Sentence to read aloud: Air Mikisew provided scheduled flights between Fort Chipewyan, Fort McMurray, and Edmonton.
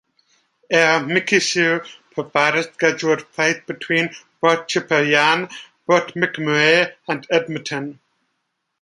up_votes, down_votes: 1, 2